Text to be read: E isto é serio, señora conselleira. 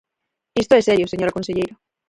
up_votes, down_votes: 0, 4